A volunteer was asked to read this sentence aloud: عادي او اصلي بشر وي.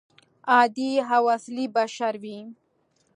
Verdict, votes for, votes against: accepted, 2, 0